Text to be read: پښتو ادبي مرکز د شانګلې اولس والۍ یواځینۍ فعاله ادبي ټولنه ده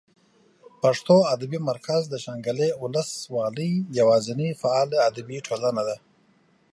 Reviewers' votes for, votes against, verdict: 2, 0, accepted